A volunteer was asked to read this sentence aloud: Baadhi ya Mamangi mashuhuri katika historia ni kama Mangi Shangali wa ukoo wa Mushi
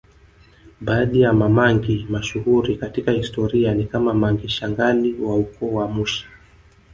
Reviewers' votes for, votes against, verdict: 1, 2, rejected